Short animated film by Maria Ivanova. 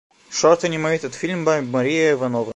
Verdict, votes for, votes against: accepted, 2, 1